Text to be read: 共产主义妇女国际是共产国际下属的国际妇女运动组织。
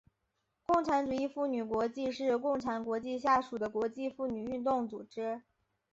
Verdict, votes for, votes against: accepted, 5, 0